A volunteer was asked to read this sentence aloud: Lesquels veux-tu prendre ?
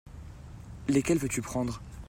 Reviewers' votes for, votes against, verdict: 2, 0, accepted